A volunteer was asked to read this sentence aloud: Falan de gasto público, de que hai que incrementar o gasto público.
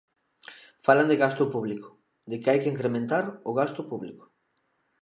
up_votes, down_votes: 2, 0